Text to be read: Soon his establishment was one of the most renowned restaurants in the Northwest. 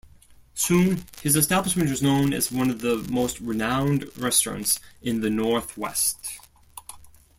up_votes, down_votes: 1, 2